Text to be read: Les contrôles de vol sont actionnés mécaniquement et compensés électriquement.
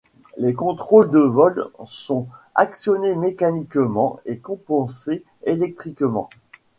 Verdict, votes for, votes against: accepted, 2, 1